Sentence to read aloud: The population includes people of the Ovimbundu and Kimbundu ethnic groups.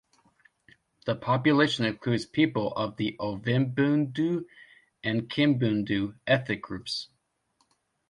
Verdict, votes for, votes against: rejected, 1, 2